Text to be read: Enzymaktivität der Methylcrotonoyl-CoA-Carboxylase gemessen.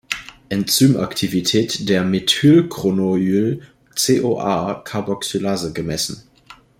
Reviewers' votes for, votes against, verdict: 0, 2, rejected